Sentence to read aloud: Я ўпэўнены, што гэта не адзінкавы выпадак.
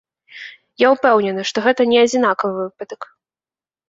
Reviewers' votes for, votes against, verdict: 0, 2, rejected